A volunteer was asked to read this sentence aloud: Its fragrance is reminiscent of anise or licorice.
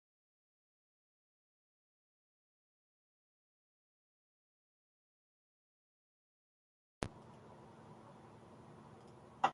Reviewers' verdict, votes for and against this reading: rejected, 0, 2